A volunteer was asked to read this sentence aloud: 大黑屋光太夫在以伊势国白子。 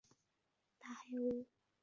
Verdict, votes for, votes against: rejected, 0, 2